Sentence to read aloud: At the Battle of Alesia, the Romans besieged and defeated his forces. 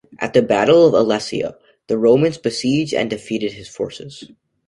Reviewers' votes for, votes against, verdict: 2, 1, accepted